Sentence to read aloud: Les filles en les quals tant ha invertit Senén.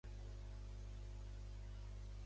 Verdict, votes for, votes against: rejected, 0, 2